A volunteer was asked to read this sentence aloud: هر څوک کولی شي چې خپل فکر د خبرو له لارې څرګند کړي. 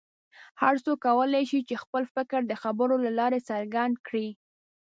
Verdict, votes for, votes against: accepted, 2, 0